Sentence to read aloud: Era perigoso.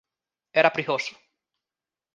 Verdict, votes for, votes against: rejected, 0, 2